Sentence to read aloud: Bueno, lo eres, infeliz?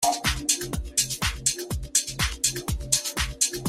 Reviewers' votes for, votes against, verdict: 0, 2, rejected